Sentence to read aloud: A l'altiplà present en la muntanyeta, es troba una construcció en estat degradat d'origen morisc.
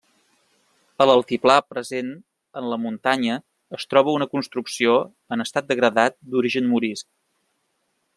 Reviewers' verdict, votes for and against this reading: rejected, 1, 2